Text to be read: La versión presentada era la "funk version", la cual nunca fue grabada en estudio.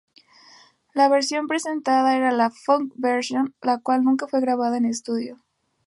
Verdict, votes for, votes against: rejected, 0, 2